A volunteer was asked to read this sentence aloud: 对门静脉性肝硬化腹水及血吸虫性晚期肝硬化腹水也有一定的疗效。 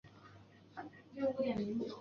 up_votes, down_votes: 0, 2